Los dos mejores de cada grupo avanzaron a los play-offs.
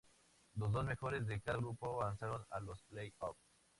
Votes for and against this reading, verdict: 2, 0, accepted